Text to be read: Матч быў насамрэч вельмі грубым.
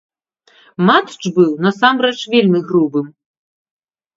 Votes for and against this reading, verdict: 2, 0, accepted